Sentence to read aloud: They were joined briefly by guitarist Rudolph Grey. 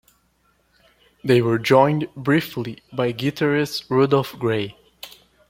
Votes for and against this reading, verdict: 2, 0, accepted